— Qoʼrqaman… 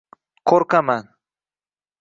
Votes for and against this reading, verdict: 2, 0, accepted